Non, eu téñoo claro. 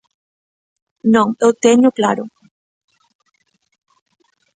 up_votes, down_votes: 2, 1